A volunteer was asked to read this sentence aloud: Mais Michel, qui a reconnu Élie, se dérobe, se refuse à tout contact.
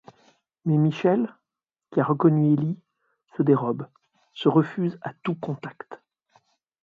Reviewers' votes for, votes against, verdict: 0, 2, rejected